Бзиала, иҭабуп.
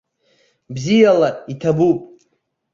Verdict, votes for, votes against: accepted, 2, 0